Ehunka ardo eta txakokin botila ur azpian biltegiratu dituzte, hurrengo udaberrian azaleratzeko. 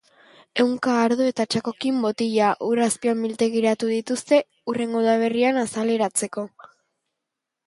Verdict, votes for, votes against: rejected, 1, 2